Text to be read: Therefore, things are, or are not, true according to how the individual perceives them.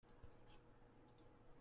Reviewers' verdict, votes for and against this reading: rejected, 0, 2